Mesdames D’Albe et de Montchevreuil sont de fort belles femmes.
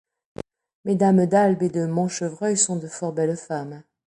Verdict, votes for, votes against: accepted, 2, 0